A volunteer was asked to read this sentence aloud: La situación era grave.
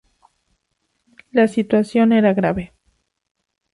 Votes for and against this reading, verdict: 4, 0, accepted